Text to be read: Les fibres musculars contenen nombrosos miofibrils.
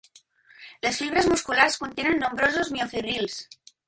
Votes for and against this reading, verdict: 2, 0, accepted